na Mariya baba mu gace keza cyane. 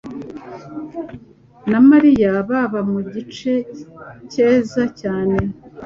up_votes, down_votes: 1, 2